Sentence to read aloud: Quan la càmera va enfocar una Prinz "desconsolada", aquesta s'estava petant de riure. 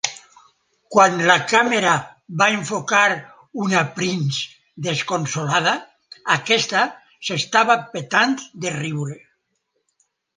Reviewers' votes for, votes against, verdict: 2, 0, accepted